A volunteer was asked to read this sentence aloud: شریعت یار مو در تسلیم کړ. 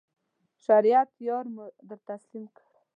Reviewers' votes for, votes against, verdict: 1, 2, rejected